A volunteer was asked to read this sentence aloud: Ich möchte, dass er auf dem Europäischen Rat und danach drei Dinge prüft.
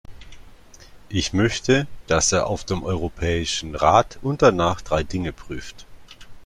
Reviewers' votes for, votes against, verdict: 2, 0, accepted